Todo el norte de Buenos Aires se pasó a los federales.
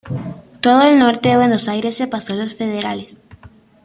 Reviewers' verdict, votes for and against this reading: accepted, 2, 0